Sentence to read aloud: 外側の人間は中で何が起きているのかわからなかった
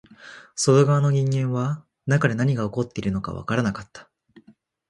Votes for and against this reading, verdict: 0, 2, rejected